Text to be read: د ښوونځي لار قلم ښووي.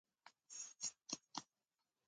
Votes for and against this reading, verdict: 0, 2, rejected